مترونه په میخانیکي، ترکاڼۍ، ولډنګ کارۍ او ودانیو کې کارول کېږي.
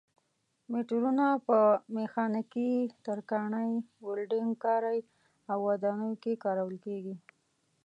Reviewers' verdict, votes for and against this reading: accepted, 2, 0